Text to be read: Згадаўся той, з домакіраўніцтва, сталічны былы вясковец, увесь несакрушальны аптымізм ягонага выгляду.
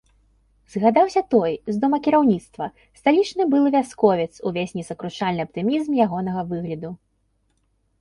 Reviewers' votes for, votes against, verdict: 3, 0, accepted